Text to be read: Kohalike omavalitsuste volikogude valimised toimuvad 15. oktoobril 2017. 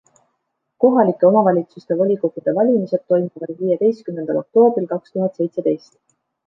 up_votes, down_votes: 0, 2